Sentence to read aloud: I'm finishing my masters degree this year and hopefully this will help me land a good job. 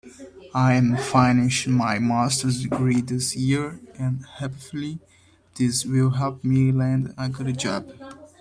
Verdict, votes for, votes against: rejected, 2, 4